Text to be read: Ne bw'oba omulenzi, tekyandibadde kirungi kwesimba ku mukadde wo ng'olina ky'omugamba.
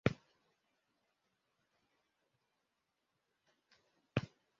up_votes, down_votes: 0, 2